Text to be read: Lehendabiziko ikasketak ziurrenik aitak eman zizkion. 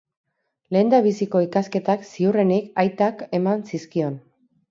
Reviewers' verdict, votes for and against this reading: accepted, 4, 0